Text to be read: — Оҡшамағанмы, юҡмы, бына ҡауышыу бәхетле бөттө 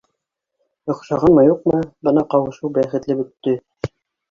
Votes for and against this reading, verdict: 0, 2, rejected